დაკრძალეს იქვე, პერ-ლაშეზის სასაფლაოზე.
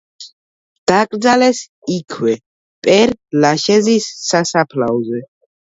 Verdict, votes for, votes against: accepted, 2, 0